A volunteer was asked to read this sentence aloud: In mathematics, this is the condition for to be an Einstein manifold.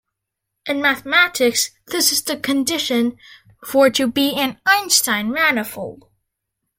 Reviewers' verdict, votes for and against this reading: accepted, 2, 0